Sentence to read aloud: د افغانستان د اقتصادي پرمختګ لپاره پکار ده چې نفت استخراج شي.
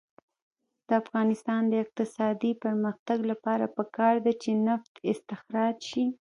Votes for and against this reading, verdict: 2, 0, accepted